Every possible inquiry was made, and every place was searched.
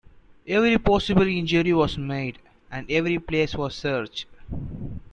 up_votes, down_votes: 0, 2